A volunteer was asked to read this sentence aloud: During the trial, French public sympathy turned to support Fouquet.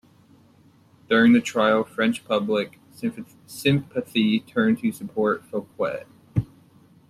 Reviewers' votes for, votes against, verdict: 0, 2, rejected